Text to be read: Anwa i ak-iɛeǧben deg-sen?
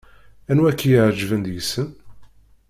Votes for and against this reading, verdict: 2, 1, accepted